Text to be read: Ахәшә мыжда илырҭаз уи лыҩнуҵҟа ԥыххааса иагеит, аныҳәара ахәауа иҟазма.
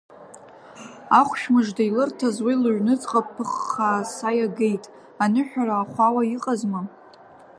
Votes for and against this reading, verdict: 2, 1, accepted